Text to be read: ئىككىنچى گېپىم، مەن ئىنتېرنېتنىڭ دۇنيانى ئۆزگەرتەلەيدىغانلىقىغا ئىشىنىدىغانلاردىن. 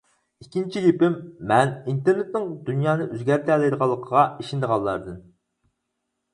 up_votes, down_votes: 4, 0